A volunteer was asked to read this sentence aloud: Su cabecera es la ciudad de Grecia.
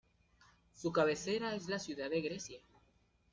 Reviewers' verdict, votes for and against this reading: rejected, 1, 2